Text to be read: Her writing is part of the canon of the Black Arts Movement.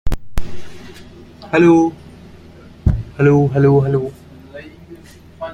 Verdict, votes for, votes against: rejected, 0, 2